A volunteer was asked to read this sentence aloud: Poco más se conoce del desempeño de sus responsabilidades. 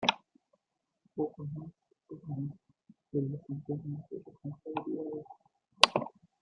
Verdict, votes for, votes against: rejected, 1, 2